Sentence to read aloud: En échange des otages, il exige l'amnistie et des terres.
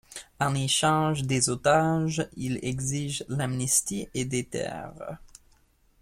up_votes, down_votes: 2, 1